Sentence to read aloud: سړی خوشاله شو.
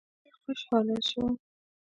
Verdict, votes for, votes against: rejected, 1, 2